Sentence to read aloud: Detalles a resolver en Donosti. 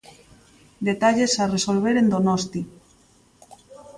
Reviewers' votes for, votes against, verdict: 2, 0, accepted